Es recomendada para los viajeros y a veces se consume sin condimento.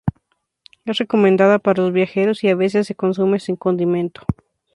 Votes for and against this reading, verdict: 2, 0, accepted